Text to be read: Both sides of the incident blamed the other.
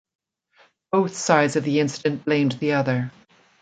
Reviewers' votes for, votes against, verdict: 2, 0, accepted